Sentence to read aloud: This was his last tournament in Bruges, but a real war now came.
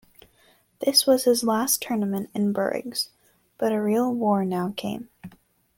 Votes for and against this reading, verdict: 1, 2, rejected